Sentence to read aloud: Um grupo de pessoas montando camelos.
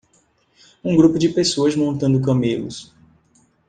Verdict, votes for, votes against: accepted, 3, 0